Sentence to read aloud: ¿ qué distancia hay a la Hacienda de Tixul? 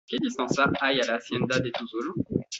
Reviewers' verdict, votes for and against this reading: rejected, 1, 2